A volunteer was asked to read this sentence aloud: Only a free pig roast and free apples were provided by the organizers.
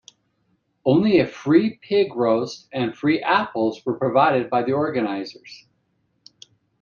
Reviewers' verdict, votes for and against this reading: accepted, 2, 0